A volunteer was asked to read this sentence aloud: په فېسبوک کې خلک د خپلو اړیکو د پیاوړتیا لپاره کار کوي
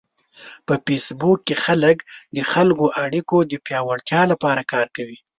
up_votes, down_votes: 1, 2